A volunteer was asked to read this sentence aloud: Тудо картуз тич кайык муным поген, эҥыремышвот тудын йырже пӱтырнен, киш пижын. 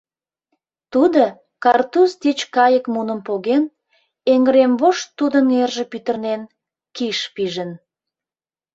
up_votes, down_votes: 0, 2